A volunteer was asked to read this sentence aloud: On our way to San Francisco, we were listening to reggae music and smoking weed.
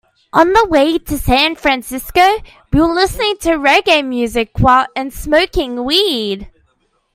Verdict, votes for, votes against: rejected, 0, 2